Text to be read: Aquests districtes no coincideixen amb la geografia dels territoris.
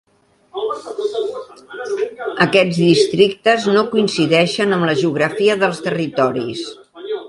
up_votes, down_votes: 1, 2